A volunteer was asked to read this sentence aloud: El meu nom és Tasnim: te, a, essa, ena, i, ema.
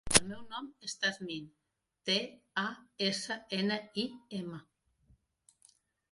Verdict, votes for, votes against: rejected, 0, 2